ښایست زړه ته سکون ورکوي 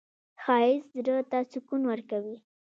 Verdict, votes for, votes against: rejected, 1, 2